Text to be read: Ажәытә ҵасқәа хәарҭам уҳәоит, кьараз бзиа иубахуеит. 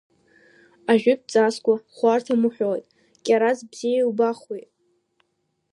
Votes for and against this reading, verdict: 2, 0, accepted